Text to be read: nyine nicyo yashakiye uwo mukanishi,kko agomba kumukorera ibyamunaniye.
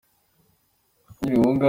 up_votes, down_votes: 0, 2